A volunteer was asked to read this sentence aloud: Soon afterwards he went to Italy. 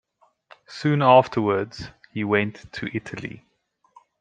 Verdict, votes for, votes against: accepted, 2, 0